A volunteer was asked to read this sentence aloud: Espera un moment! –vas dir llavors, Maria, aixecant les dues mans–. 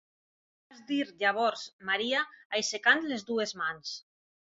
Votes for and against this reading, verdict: 0, 2, rejected